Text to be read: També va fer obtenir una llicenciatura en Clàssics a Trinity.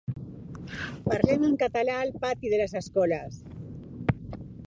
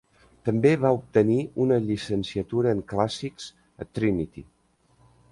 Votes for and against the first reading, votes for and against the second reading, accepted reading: 1, 2, 2, 1, second